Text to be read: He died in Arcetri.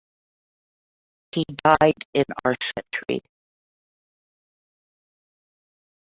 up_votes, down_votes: 0, 2